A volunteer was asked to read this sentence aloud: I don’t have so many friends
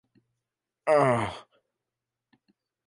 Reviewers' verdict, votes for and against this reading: rejected, 0, 2